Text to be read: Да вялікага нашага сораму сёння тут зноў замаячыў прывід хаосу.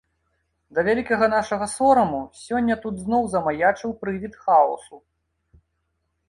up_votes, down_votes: 0, 2